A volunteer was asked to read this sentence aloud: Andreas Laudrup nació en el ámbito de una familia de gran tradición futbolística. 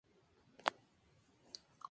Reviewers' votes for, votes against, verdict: 0, 2, rejected